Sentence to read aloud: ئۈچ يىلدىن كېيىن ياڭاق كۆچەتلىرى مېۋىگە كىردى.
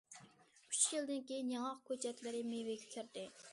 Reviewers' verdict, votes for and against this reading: accepted, 2, 1